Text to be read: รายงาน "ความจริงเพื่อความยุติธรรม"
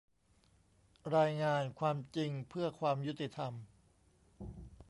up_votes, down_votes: 2, 0